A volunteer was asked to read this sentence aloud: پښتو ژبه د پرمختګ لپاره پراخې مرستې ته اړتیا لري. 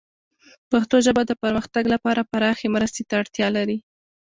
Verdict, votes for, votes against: accepted, 2, 0